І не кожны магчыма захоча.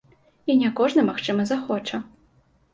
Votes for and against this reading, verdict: 2, 0, accepted